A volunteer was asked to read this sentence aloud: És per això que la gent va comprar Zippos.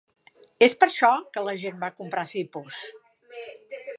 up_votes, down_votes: 2, 0